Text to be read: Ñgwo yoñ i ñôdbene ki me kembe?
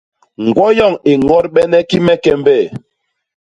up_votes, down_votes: 0, 2